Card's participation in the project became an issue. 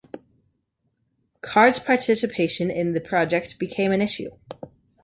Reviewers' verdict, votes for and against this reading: accepted, 2, 0